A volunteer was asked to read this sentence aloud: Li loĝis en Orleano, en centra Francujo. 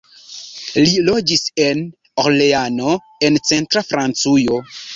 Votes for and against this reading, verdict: 0, 2, rejected